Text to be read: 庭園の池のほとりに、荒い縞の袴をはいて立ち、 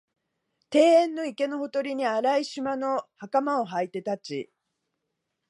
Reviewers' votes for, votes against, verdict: 2, 0, accepted